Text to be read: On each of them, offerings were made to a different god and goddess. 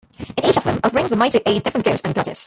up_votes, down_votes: 1, 2